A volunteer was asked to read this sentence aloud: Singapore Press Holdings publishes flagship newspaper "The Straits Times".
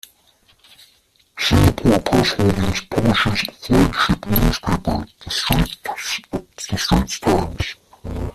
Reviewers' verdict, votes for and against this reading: rejected, 1, 2